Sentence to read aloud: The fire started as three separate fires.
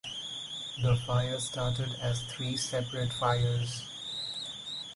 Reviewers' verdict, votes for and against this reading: accepted, 4, 0